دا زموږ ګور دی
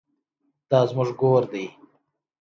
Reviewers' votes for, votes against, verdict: 2, 0, accepted